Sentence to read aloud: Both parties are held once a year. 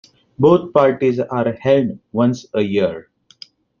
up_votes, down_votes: 2, 1